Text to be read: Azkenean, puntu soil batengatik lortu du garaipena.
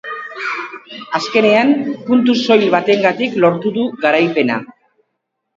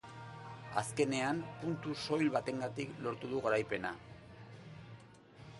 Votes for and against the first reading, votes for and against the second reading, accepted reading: 0, 2, 2, 0, second